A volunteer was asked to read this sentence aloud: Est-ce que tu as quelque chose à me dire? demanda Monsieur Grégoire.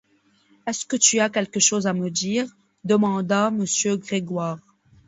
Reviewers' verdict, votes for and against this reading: accepted, 2, 0